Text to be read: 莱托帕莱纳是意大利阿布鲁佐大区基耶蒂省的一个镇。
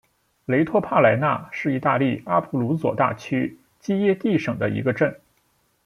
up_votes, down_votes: 1, 2